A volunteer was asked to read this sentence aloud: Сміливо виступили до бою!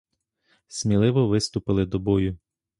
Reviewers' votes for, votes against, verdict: 2, 0, accepted